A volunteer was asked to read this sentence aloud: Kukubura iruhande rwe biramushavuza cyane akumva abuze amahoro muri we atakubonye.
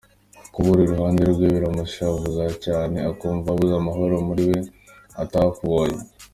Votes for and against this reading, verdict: 2, 1, accepted